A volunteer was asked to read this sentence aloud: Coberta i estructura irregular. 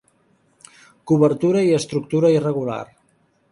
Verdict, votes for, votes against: rejected, 0, 3